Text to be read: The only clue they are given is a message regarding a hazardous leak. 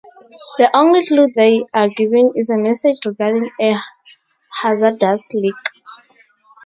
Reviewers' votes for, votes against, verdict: 2, 0, accepted